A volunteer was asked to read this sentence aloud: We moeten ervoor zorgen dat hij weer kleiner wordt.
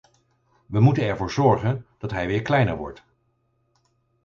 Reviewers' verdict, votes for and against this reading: accepted, 4, 0